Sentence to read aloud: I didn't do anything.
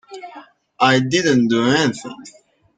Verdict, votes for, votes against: accepted, 2, 1